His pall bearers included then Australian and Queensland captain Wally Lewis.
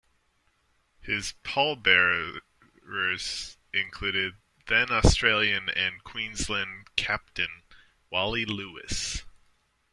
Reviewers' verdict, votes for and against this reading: rejected, 0, 2